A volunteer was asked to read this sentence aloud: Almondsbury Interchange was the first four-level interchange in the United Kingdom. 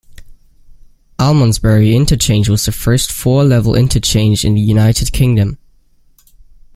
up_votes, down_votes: 2, 0